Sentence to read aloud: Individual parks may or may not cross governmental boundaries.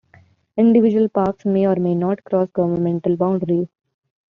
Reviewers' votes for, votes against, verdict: 2, 1, accepted